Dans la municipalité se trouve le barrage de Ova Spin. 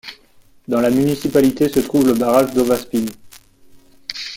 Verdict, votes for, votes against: rejected, 0, 2